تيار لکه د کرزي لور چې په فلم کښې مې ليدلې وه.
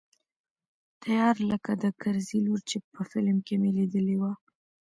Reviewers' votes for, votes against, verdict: 1, 2, rejected